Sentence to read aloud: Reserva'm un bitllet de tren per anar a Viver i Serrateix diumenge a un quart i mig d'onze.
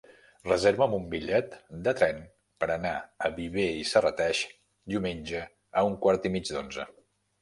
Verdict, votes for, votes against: rejected, 1, 2